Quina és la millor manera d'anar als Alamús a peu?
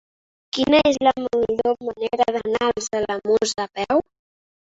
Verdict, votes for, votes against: rejected, 1, 2